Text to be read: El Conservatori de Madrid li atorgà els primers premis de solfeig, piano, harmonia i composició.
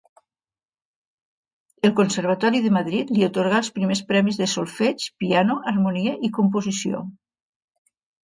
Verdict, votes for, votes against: accepted, 2, 0